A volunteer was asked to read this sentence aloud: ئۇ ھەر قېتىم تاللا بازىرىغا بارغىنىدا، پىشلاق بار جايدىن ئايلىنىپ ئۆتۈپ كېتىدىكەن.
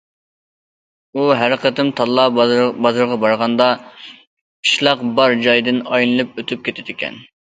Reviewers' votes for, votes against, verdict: 0, 2, rejected